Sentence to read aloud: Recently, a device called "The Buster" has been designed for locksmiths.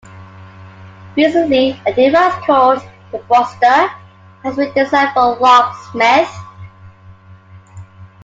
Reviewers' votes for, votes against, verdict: 2, 1, accepted